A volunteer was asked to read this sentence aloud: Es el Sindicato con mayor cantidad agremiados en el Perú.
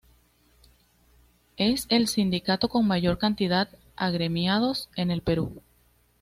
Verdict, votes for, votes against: accepted, 2, 0